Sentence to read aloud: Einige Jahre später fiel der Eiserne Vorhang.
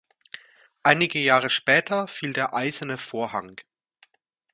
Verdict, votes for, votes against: accepted, 2, 0